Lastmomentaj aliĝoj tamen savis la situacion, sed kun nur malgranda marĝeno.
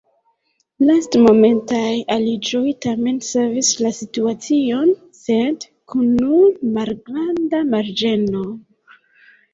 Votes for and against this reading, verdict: 1, 2, rejected